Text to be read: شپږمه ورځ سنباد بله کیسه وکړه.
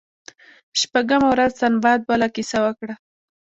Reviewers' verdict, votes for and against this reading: accepted, 2, 0